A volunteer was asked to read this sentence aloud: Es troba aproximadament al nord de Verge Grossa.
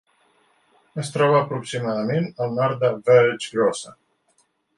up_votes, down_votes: 0, 2